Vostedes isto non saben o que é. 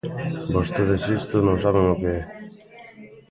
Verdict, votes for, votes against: rejected, 0, 2